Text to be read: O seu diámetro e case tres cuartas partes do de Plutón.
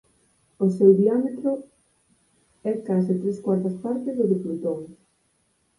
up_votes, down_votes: 2, 4